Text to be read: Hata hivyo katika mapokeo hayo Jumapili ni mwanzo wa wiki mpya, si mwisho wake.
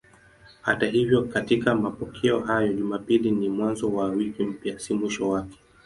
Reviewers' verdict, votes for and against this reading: accepted, 15, 5